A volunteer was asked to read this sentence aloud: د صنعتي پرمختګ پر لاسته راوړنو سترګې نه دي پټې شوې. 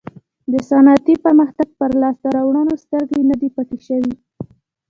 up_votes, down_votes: 2, 0